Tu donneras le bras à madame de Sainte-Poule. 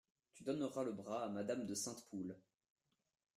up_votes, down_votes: 0, 2